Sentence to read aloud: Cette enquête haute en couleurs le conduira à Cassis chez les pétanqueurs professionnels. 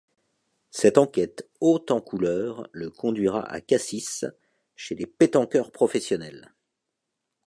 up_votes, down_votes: 2, 0